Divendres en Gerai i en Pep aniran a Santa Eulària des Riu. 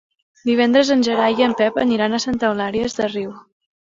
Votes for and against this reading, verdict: 2, 1, accepted